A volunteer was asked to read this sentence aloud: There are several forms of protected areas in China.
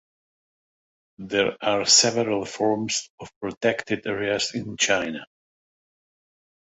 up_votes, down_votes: 2, 0